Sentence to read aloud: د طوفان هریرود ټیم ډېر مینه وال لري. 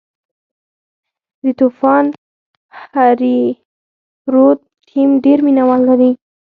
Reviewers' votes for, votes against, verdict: 0, 4, rejected